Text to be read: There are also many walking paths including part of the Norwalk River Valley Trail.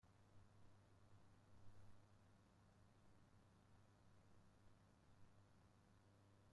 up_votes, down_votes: 0, 2